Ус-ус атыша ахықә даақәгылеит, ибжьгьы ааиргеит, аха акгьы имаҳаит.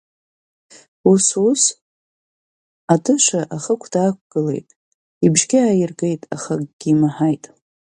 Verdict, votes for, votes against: accepted, 4, 0